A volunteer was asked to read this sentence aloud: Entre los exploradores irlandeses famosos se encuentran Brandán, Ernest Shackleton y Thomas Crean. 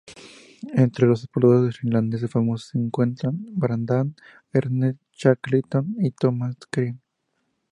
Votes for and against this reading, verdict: 2, 0, accepted